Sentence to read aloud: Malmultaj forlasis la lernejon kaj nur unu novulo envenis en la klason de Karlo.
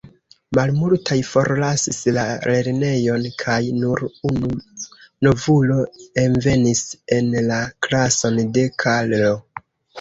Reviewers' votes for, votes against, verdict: 2, 0, accepted